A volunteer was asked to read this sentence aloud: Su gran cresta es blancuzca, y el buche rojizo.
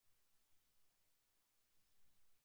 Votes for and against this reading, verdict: 0, 2, rejected